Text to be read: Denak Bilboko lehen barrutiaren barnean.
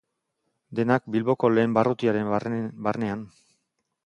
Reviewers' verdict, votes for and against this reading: rejected, 0, 2